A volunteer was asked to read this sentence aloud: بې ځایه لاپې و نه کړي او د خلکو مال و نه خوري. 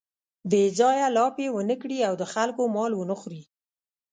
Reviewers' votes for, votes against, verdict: 1, 2, rejected